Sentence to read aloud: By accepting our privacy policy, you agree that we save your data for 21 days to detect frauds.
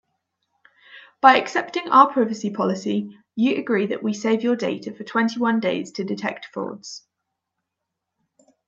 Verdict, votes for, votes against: rejected, 0, 2